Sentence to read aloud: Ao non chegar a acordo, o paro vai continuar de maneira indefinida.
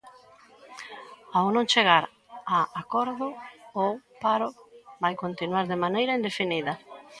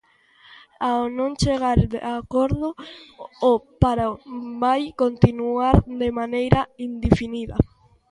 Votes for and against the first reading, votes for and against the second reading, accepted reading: 2, 0, 0, 2, first